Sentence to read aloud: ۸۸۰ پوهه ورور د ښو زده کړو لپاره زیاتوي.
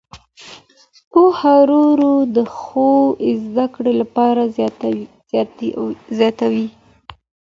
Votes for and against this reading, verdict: 0, 2, rejected